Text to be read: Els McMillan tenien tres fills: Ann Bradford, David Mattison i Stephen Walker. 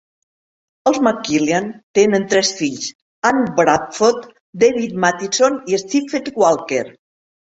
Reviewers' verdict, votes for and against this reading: rejected, 0, 2